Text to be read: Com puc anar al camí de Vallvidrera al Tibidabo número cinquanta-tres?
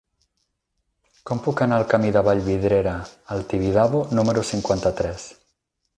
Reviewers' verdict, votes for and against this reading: rejected, 2, 4